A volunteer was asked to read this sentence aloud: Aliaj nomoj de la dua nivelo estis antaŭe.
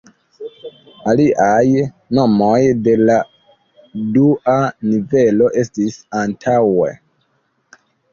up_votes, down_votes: 2, 0